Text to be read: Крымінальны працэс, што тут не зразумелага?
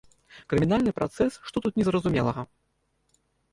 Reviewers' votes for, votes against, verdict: 1, 2, rejected